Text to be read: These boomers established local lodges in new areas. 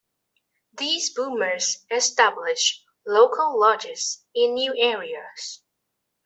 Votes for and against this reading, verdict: 2, 0, accepted